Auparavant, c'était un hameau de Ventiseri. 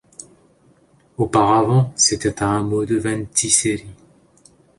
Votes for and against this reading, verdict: 2, 0, accepted